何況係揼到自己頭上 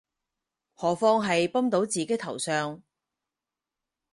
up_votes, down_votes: 2, 4